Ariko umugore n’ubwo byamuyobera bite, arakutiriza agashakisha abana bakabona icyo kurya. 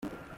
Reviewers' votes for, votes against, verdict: 0, 2, rejected